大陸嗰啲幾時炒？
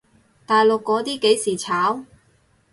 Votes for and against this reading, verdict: 4, 0, accepted